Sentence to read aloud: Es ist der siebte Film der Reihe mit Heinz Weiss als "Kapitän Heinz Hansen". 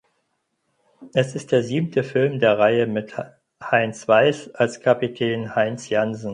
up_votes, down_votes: 0, 4